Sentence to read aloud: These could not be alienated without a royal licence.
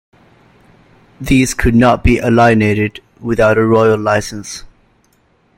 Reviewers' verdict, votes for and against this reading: accepted, 2, 0